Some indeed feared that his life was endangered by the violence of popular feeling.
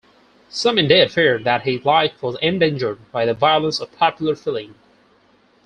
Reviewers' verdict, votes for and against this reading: accepted, 4, 2